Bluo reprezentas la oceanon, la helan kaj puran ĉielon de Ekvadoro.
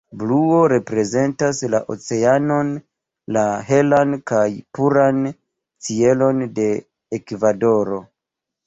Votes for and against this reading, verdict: 0, 2, rejected